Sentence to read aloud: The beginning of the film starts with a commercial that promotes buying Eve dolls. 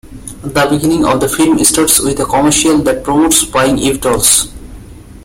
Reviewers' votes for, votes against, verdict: 2, 0, accepted